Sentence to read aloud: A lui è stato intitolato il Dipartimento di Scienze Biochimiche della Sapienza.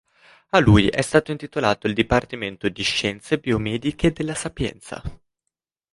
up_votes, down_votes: 0, 2